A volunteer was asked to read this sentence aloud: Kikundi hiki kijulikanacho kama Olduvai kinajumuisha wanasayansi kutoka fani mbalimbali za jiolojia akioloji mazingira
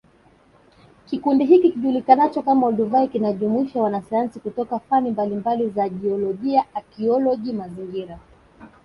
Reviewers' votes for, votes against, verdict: 3, 0, accepted